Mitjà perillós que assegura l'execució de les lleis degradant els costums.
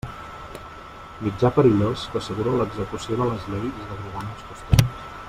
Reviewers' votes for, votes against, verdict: 1, 2, rejected